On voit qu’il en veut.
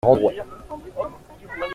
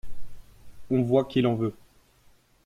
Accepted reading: second